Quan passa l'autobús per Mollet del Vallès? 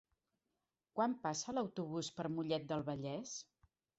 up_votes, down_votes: 4, 0